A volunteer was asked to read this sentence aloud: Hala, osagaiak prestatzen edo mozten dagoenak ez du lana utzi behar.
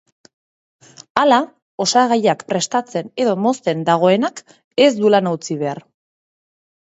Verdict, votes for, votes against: accepted, 2, 1